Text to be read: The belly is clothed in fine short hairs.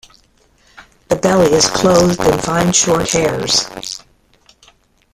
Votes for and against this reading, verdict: 0, 2, rejected